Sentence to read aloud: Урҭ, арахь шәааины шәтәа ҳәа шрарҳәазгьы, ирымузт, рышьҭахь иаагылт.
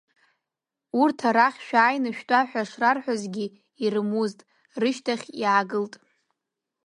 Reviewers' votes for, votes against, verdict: 2, 0, accepted